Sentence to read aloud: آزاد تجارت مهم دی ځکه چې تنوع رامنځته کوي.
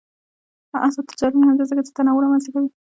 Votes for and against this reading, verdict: 0, 2, rejected